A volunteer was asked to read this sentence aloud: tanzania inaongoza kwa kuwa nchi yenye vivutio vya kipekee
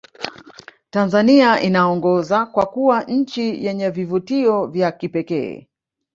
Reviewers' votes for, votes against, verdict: 1, 2, rejected